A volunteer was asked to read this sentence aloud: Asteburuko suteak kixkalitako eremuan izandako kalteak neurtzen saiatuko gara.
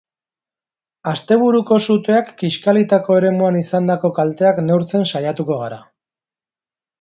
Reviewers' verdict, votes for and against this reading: accepted, 2, 0